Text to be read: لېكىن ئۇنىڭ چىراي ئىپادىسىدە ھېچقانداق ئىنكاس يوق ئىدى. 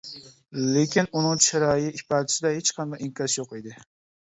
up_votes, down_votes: 0, 2